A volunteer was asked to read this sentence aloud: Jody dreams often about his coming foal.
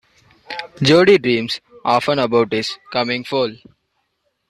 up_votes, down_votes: 2, 1